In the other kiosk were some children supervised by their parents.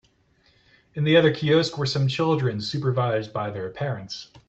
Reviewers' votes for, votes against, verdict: 3, 0, accepted